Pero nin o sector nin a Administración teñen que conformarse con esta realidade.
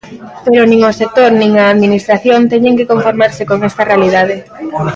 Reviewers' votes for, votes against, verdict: 2, 0, accepted